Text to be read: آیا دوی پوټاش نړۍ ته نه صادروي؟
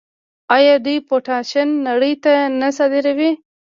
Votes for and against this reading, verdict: 1, 2, rejected